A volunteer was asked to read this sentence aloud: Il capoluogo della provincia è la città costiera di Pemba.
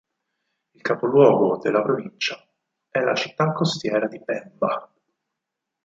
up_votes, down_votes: 4, 0